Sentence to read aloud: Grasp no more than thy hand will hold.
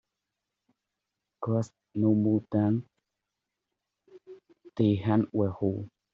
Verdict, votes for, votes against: rejected, 0, 2